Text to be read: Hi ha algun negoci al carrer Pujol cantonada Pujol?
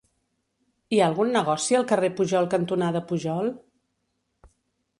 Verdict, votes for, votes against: rejected, 1, 2